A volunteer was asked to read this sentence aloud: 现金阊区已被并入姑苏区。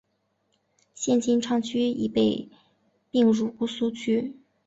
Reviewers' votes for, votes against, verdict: 2, 1, accepted